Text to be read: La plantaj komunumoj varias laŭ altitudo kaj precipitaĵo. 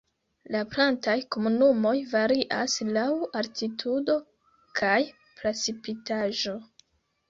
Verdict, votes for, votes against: accepted, 2, 0